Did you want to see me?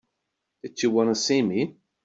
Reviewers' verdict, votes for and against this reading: accepted, 2, 0